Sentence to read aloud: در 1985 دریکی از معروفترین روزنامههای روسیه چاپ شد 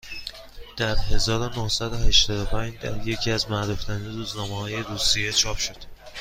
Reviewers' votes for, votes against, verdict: 0, 2, rejected